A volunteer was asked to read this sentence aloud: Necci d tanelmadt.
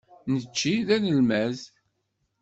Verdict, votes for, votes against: rejected, 1, 2